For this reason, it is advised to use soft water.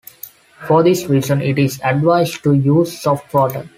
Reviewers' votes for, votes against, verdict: 2, 0, accepted